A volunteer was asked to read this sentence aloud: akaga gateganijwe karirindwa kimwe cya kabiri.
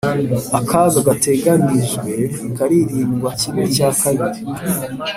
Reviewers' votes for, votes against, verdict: 3, 0, accepted